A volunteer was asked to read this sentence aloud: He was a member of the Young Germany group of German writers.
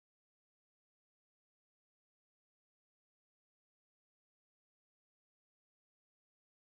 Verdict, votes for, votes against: rejected, 0, 4